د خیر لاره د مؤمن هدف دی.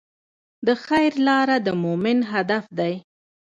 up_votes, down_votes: 2, 0